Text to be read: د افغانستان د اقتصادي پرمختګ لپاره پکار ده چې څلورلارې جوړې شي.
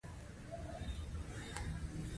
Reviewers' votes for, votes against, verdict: 2, 1, accepted